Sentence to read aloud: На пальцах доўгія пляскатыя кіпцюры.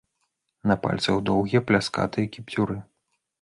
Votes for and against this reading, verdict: 2, 0, accepted